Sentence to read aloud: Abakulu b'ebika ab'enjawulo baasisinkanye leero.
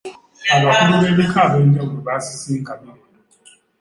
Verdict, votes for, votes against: rejected, 0, 2